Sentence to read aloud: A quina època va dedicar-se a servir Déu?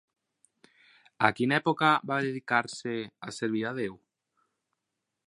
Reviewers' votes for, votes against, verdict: 2, 4, rejected